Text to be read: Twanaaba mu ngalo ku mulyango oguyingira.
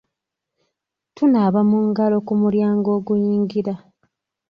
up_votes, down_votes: 1, 2